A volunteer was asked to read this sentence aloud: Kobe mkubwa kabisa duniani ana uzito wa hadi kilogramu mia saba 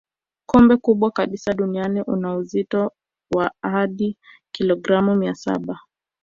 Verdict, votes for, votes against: rejected, 1, 2